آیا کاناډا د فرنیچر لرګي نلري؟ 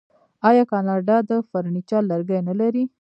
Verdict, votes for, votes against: rejected, 1, 2